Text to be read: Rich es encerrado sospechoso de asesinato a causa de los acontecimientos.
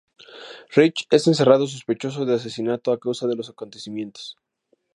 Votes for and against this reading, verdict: 2, 0, accepted